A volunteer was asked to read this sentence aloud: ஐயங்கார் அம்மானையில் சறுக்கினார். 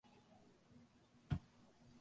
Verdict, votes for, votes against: rejected, 1, 2